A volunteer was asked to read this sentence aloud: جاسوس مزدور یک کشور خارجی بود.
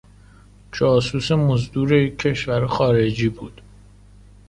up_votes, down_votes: 2, 0